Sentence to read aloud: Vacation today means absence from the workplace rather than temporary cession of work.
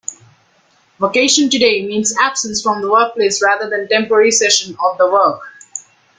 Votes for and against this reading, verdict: 0, 2, rejected